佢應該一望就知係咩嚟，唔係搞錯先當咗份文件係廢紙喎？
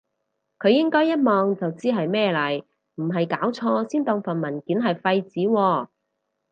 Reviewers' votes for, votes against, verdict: 2, 2, rejected